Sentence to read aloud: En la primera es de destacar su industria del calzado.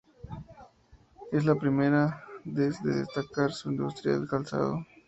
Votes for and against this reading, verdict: 0, 2, rejected